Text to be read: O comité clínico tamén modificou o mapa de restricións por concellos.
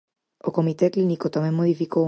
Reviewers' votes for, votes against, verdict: 0, 4, rejected